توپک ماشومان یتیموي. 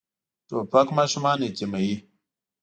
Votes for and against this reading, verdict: 2, 0, accepted